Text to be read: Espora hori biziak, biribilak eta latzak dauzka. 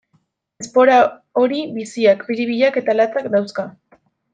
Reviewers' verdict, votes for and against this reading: rejected, 0, 2